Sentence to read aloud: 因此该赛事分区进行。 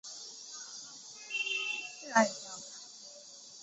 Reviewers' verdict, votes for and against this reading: rejected, 0, 2